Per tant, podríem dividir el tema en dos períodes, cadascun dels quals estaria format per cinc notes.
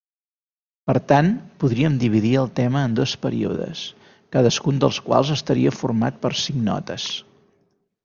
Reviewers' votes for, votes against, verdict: 3, 0, accepted